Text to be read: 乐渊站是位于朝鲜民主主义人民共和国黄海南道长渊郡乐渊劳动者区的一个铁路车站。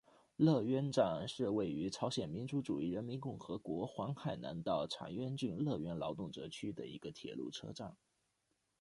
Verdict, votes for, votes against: accepted, 2, 1